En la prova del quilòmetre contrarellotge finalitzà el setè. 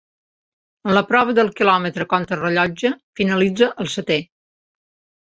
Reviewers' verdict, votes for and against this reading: rejected, 1, 2